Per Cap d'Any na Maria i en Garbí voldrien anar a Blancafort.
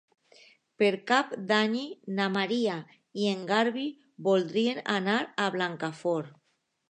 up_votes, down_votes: 0, 2